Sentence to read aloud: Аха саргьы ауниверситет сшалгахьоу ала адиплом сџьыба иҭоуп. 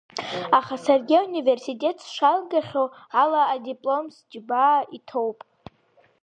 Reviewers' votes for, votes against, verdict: 0, 2, rejected